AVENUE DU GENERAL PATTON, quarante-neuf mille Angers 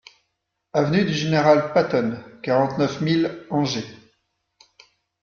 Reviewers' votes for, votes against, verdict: 2, 0, accepted